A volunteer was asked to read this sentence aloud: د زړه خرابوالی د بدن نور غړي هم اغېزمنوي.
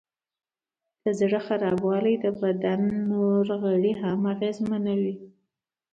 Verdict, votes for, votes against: accepted, 2, 0